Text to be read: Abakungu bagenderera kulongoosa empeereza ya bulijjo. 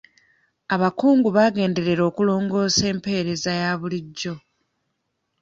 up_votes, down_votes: 0, 2